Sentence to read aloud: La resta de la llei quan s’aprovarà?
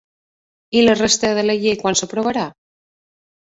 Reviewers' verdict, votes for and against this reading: rejected, 0, 2